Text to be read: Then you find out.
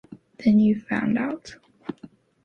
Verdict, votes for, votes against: accepted, 2, 1